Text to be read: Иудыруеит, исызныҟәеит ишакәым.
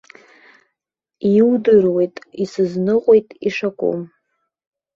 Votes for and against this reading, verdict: 1, 2, rejected